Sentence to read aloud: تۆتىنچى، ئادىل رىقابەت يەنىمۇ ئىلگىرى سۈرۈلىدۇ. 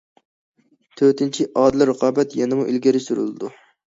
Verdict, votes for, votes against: accepted, 2, 0